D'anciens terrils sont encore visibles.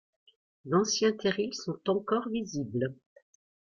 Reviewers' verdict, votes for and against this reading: accepted, 2, 0